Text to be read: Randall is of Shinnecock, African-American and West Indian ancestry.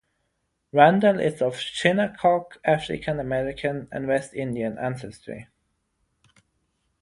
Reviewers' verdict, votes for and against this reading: rejected, 0, 3